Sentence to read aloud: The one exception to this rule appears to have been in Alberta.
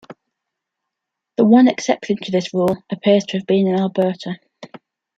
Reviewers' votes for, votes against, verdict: 2, 0, accepted